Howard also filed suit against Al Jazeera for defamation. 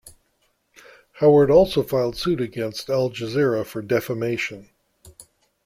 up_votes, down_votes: 2, 0